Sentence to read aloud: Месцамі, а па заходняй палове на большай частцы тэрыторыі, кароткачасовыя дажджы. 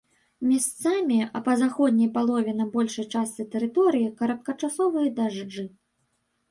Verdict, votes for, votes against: rejected, 1, 2